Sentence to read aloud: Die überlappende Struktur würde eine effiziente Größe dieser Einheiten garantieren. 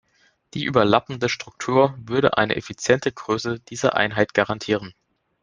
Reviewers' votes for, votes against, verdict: 0, 2, rejected